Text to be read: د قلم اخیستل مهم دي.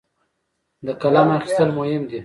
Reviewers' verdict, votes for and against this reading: rejected, 0, 2